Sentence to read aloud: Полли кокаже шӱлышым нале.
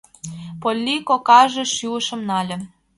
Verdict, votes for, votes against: accepted, 2, 0